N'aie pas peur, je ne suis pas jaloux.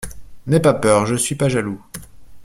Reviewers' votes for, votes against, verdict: 1, 2, rejected